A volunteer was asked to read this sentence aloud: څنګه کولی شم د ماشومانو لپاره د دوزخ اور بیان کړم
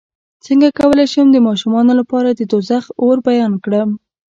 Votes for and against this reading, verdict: 1, 2, rejected